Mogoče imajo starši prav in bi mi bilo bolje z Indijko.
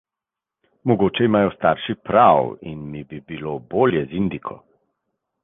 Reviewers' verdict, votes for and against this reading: rejected, 1, 2